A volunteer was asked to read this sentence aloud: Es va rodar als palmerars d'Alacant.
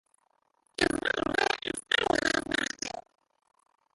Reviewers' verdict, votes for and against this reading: rejected, 0, 2